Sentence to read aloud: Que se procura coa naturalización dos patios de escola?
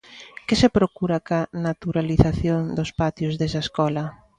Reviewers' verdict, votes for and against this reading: rejected, 0, 2